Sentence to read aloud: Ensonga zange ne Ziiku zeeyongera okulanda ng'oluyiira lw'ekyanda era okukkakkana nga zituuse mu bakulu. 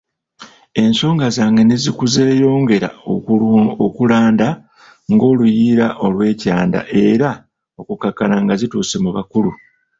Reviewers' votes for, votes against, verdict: 1, 2, rejected